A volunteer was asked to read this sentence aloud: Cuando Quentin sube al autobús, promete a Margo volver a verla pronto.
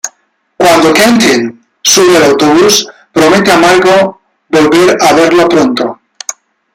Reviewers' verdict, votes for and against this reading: rejected, 1, 2